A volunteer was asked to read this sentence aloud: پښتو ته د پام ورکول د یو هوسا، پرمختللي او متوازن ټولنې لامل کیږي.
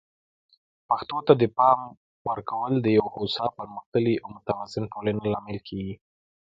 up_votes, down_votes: 0, 2